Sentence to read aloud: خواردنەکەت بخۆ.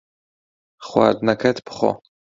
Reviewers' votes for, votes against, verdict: 2, 0, accepted